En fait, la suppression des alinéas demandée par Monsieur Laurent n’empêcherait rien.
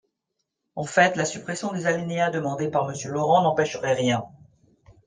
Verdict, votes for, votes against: accepted, 3, 0